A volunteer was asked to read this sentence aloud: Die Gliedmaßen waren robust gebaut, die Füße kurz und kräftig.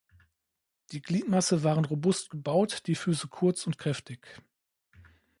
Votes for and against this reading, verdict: 0, 2, rejected